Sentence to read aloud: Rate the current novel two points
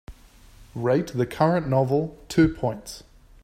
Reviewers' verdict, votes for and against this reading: accepted, 2, 0